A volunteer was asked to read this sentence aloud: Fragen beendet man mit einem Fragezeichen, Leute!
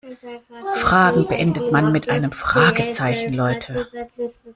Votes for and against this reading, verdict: 1, 2, rejected